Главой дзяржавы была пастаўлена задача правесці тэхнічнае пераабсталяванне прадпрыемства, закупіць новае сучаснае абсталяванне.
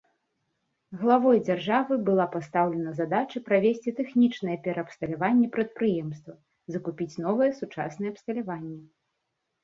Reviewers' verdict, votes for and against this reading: accepted, 3, 1